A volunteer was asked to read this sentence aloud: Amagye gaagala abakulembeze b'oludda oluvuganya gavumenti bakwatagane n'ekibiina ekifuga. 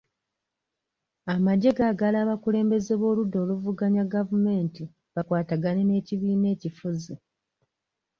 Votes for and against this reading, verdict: 1, 2, rejected